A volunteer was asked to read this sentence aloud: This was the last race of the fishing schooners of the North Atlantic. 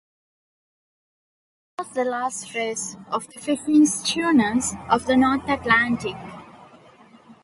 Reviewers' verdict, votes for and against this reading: rejected, 1, 2